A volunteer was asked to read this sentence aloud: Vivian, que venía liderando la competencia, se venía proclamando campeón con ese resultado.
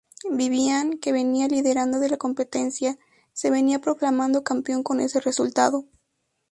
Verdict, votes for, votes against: rejected, 2, 2